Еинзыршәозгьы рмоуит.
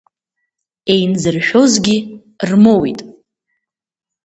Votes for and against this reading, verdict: 1, 2, rejected